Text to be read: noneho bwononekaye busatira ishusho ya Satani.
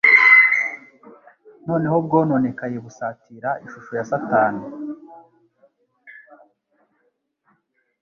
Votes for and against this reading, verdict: 2, 0, accepted